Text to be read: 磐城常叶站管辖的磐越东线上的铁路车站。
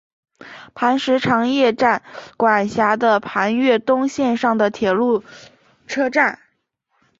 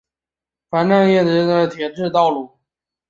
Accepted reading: first